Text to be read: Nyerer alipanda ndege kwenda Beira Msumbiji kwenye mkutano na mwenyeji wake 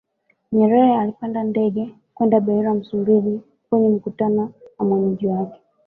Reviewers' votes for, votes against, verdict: 1, 2, rejected